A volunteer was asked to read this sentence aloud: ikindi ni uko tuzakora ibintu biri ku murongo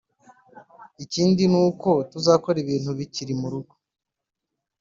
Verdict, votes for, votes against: rejected, 0, 3